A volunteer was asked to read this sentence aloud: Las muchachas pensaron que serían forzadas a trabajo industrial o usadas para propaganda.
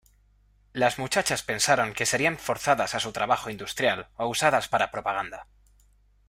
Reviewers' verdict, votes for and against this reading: rejected, 1, 2